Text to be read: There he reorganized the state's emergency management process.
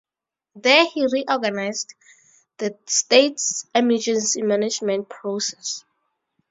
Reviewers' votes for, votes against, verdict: 2, 2, rejected